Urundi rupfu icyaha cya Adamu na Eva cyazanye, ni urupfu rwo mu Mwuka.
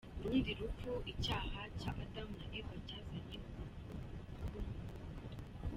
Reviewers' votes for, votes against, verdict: 2, 1, accepted